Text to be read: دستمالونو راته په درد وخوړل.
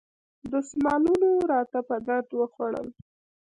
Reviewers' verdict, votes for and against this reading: accepted, 2, 1